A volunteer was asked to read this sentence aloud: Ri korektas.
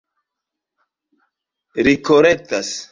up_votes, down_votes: 2, 1